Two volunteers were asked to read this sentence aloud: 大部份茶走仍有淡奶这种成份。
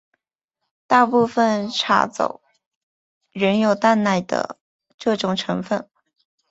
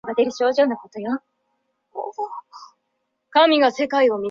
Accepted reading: first